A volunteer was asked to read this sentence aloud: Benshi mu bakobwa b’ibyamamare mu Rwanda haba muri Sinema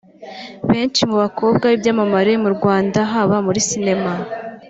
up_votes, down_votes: 2, 0